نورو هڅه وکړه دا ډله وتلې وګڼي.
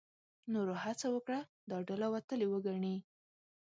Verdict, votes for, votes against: accepted, 2, 0